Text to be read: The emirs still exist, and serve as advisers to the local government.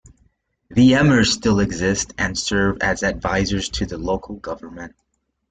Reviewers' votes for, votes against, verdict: 3, 0, accepted